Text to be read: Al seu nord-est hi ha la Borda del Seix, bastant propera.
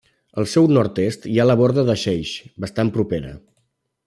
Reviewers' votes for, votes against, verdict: 0, 2, rejected